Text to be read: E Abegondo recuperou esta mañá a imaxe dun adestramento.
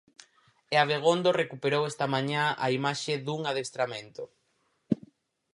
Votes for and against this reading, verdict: 4, 0, accepted